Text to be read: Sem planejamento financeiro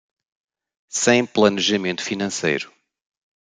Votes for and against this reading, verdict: 1, 2, rejected